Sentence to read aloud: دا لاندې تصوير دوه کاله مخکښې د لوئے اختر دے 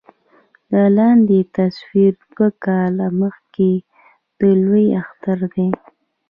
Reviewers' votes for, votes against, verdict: 1, 2, rejected